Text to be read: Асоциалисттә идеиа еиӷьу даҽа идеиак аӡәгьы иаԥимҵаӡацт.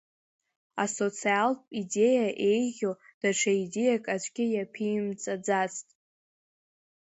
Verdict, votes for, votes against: accepted, 2, 0